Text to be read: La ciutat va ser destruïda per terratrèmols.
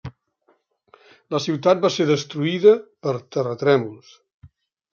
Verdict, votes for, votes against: rejected, 1, 2